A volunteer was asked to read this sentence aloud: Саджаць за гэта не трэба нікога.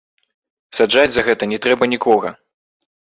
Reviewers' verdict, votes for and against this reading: rejected, 1, 3